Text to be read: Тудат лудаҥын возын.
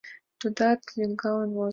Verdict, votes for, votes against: rejected, 1, 3